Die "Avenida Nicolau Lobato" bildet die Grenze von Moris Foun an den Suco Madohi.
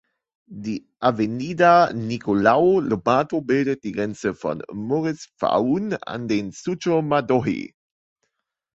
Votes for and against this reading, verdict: 2, 1, accepted